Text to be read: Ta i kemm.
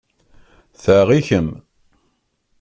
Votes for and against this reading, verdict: 2, 0, accepted